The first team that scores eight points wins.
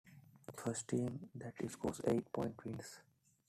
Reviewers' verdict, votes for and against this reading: rejected, 0, 2